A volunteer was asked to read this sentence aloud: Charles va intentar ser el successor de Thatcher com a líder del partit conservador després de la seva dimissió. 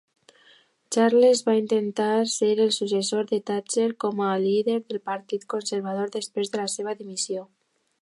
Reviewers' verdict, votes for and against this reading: accepted, 2, 1